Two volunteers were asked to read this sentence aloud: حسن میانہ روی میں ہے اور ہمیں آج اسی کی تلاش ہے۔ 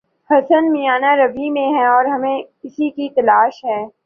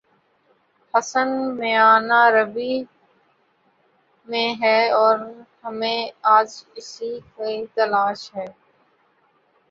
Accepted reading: first